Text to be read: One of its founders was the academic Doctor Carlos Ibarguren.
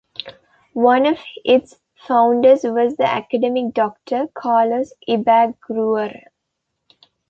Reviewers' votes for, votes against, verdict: 1, 2, rejected